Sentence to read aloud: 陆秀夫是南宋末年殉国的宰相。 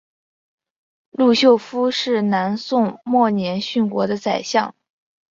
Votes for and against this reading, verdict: 2, 0, accepted